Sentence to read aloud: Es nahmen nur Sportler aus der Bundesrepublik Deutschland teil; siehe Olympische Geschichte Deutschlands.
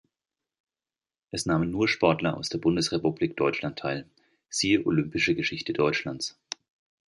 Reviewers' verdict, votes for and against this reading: accepted, 2, 0